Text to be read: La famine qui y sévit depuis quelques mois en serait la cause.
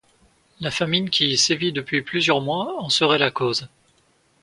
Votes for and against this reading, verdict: 1, 2, rejected